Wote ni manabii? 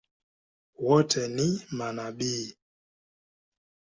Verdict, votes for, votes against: accepted, 10, 0